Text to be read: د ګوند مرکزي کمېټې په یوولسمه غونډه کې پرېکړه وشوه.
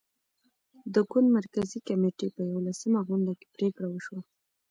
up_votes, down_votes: 2, 0